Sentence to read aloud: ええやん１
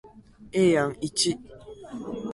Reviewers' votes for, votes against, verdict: 0, 2, rejected